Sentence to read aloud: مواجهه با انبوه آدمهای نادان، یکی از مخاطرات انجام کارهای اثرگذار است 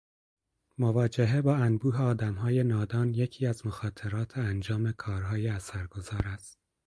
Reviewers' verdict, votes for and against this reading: accepted, 4, 0